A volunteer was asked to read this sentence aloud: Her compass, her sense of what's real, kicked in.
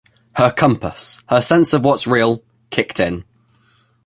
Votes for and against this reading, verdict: 2, 0, accepted